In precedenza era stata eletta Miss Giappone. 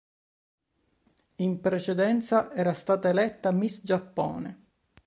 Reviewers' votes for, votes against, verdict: 2, 0, accepted